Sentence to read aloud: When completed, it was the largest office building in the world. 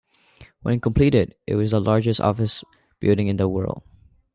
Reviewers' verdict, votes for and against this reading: accepted, 3, 0